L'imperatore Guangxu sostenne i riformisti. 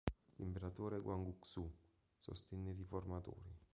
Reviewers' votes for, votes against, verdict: 1, 2, rejected